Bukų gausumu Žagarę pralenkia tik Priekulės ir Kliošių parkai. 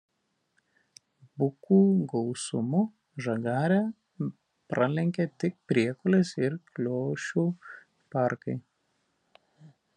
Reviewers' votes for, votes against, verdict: 0, 2, rejected